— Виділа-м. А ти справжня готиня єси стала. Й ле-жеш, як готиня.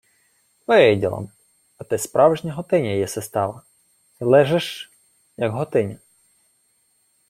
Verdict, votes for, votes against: accepted, 2, 0